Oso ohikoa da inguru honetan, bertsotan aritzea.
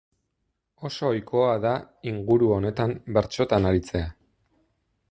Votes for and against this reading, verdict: 2, 0, accepted